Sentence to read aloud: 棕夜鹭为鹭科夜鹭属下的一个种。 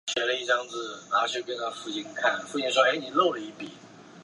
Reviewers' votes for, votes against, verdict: 0, 5, rejected